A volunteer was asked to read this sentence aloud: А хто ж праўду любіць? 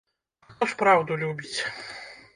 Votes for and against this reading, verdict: 1, 2, rejected